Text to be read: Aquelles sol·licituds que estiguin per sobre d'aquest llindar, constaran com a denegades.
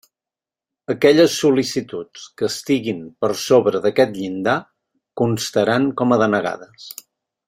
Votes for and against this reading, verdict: 3, 0, accepted